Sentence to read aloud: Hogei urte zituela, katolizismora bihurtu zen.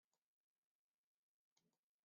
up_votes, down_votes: 1, 2